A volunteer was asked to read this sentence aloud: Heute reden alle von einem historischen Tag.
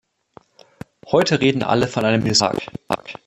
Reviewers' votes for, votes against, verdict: 0, 2, rejected